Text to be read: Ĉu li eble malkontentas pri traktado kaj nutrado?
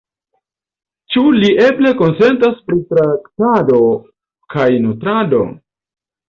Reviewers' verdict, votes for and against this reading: rejected, 1, 2